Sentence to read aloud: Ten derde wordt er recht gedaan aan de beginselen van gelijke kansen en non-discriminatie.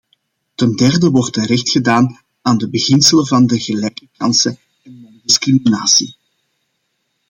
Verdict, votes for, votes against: rejected, 0, 2